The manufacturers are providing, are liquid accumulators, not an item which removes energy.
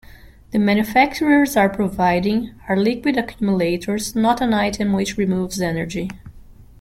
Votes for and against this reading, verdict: 0, 2, rejected